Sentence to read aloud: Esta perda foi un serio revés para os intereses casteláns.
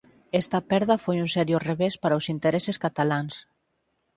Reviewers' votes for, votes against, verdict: 0, 4, rejected